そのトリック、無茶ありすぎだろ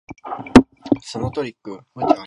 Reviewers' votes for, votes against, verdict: 1, 5, rejected